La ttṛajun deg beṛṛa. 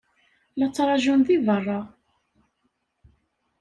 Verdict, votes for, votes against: rejected, 1, 2